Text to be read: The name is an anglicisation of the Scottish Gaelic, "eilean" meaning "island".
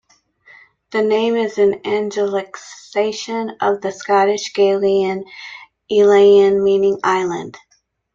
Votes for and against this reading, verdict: 1, 2, rejected